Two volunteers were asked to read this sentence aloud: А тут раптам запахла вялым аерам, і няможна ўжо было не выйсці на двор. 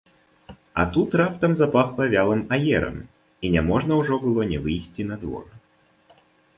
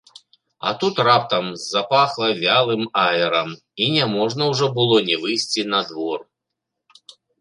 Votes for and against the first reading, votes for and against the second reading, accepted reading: 2, 1, 0, 2, first